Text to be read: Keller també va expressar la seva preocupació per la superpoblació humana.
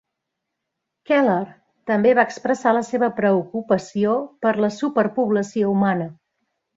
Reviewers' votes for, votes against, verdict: 3, 0, accepted